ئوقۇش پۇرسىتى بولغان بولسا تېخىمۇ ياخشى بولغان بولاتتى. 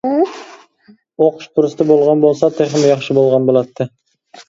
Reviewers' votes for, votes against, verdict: 2, 0, accepted